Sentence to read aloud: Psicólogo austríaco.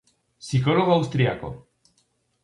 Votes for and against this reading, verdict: 2, 2, rejected